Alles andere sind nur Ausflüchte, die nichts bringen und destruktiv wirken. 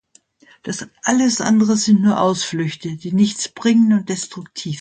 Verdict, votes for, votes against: rejected, 0, 2